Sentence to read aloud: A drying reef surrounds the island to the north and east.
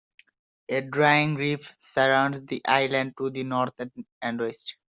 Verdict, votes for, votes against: accepted, 2, 1